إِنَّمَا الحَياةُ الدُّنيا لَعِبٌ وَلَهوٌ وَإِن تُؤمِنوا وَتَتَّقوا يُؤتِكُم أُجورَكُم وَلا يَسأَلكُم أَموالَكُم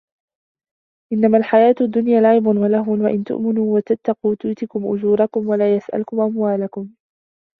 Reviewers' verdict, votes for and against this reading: accepted, 2, 0